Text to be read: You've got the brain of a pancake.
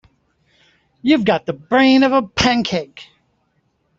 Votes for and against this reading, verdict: 2, 0, accepted